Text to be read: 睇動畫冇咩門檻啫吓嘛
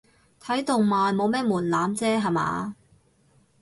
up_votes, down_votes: 0, 4